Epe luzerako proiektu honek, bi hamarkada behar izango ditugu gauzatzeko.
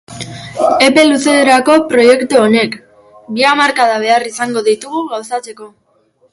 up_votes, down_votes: 2, 1